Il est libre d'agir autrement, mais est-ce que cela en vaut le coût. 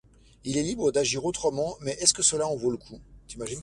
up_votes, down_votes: 1, 2